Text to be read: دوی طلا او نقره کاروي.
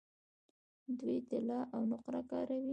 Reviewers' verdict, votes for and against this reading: rejected, 1, 2